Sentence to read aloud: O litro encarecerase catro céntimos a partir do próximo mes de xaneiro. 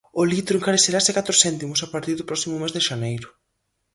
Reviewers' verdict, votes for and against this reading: accepted, 4, 0